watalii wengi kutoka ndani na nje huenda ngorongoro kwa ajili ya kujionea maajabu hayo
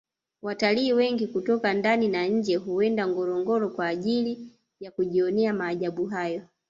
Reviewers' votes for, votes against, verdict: 1, 2, rejected